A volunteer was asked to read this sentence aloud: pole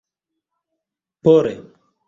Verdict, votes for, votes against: accepted, 2, 0